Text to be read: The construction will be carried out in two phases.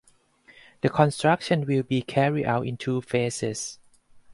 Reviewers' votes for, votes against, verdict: 4, 2, accepted